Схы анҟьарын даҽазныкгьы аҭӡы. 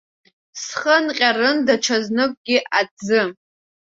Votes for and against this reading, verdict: 2, 1, accepted